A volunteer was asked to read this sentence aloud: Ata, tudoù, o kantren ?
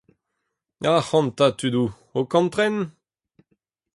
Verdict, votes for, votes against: rejected, 0, 4